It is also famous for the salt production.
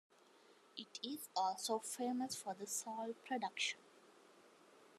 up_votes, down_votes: 1, 2